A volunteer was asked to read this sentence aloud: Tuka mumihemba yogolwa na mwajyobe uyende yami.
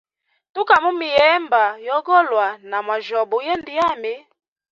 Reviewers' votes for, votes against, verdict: 2, 0, accepted